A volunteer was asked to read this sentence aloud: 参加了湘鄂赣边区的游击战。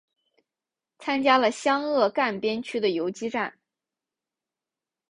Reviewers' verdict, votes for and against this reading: accepted, 4, 1